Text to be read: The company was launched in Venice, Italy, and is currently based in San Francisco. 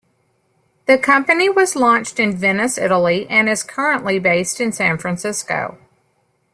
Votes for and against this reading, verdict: 2, 0, accepted